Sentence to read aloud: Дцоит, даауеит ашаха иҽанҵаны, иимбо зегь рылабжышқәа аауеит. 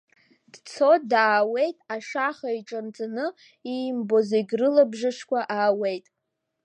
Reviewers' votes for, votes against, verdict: 2, 1, accepted